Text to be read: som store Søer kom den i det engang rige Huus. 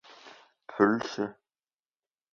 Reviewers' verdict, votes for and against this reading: rejected, 0, 2